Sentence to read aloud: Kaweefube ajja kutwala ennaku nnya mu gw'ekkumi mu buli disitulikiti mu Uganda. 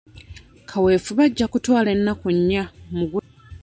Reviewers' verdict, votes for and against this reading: rejected, 0, 2